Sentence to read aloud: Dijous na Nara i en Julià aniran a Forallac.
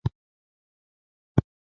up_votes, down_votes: 0, 3